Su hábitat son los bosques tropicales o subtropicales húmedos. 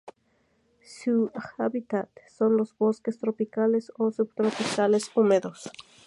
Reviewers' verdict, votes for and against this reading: rejected, 2, 2